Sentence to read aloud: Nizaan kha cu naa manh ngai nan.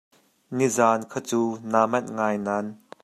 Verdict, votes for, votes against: accepted, 2, 0